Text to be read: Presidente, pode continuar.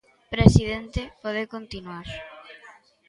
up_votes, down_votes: 0, 2